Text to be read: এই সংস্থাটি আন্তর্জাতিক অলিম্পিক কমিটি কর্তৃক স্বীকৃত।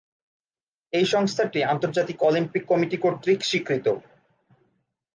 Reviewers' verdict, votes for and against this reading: accepted, 5, 1